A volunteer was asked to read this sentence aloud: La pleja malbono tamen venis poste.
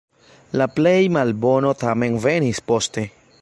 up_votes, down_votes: 1, 2